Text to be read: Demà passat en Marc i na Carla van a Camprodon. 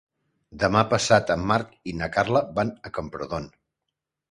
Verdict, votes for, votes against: accepted, 2, 0